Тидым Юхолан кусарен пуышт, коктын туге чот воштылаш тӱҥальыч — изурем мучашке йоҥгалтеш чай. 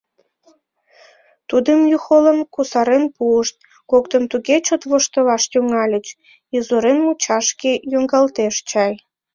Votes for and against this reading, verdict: 1, 2, rejected